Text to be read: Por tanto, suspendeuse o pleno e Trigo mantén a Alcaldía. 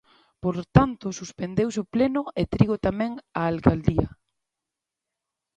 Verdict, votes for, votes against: rejected, 0, 2